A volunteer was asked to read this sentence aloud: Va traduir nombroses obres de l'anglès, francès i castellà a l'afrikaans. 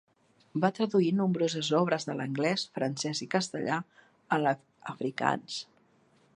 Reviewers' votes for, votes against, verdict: 0, 2, rejected